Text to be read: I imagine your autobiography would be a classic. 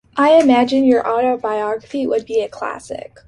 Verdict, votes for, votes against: accepted, 2, 0